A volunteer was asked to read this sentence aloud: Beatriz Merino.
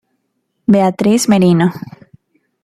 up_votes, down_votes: 2, 0